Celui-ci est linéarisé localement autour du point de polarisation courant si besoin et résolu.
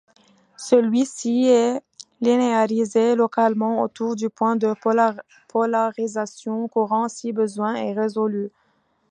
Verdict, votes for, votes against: rejected, 1, 2